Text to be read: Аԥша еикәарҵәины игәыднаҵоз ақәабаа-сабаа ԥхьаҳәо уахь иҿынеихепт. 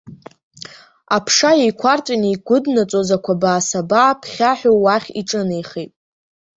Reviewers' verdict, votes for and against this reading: rejected, 1, 2